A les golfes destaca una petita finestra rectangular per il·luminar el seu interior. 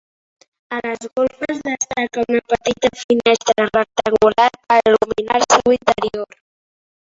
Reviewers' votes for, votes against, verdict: 1, 3, rejected